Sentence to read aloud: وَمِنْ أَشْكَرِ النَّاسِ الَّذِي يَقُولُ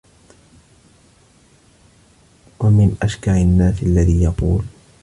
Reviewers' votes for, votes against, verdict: 2, 0, accepted